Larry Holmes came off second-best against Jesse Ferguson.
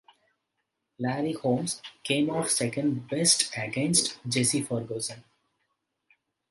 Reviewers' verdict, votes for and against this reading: accepted, 2, 0